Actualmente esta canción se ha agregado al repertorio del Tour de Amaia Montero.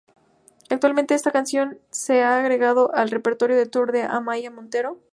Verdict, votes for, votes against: rejected, 0, 2